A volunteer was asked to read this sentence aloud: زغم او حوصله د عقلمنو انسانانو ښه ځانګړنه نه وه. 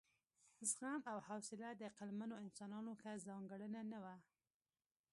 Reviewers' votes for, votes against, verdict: 2, 0, accepted